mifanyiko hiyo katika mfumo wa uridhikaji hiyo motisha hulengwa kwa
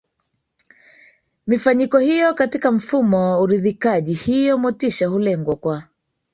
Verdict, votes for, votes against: accepted, 2, 0